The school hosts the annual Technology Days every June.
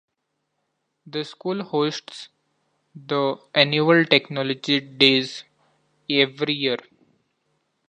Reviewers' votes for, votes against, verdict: 0, 2, rejected